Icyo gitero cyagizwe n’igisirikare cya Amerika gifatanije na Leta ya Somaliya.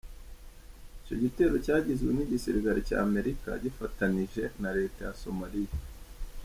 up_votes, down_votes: 2, 0